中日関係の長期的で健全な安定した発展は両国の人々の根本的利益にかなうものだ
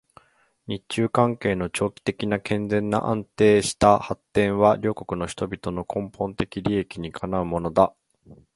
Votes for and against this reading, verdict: 1, 2, rejected